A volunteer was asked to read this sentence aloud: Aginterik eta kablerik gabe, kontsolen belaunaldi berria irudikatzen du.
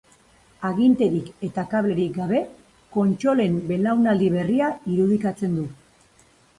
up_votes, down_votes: 2, 0